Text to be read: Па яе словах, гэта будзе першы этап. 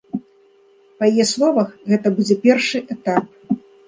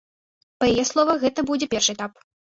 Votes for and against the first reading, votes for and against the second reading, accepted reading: 2, 0, 1, 2, first